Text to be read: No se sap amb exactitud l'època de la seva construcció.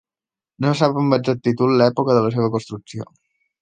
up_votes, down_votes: 1, 2